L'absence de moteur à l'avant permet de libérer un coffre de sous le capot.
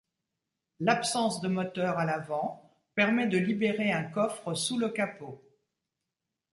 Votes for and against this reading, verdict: 1, 2, rejected